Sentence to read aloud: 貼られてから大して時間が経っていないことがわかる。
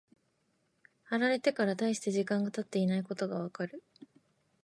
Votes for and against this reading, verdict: 2, 1, accepted